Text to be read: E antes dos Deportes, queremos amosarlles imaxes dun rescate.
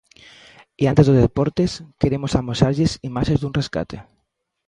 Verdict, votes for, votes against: rejected, 0, 2